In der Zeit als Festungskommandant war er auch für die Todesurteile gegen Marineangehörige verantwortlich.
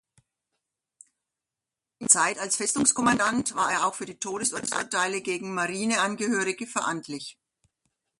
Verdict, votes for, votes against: rejected, 0, 2